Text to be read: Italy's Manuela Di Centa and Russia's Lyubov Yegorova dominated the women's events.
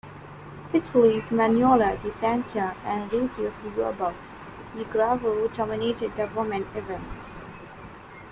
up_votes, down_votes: 0, 2